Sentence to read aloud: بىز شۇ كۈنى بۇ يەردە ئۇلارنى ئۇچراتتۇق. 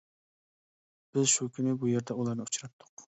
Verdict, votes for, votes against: accepted, 2, 0